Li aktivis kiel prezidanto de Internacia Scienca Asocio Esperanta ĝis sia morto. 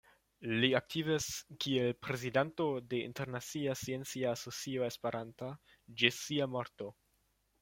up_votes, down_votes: 1, 2